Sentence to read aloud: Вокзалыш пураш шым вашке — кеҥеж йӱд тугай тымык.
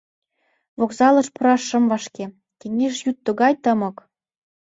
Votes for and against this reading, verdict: 2, 0, accepted